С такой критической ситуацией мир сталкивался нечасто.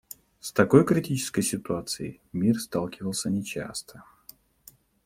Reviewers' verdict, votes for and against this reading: accepted, 2, 0